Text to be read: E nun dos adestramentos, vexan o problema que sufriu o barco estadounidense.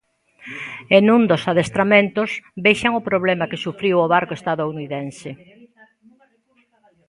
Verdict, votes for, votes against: rejected, 0, 2